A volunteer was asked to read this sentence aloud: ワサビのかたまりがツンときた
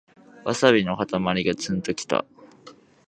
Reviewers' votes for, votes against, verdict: 2, 0, accepted